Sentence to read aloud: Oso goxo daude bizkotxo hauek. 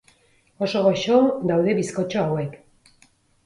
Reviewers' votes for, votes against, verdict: 4, 0, accepted